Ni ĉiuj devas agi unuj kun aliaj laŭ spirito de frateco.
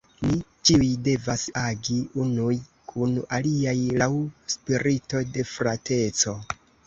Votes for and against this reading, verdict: 2, 1, accepted